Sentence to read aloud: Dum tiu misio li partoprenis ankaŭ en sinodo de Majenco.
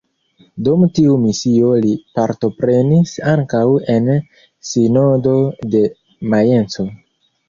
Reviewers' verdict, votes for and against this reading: rejected, 0, 2